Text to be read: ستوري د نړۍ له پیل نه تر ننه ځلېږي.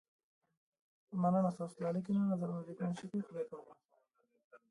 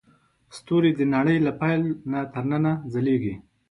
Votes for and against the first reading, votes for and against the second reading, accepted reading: 1, 2, 2, 0, second